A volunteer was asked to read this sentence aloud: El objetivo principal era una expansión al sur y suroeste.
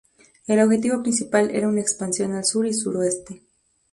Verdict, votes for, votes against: accepted, 2, 0